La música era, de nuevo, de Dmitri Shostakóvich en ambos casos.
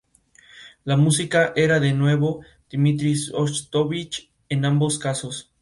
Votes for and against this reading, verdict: 0, 2, rejected